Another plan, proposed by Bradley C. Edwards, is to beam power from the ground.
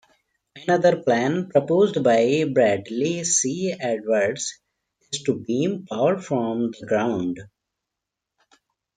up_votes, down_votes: 1, 2